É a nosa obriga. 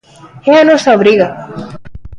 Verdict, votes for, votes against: rejected, 0, 2